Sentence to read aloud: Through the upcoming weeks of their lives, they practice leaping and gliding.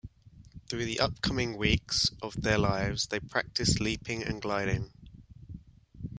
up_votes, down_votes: 1, 2